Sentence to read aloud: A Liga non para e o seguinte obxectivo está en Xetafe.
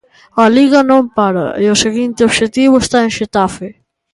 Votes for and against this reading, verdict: 2, 0, accepted